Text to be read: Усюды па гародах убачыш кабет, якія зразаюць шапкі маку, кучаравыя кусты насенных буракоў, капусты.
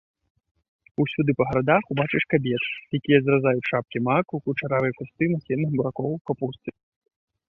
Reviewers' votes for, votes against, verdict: 0, 2, rejected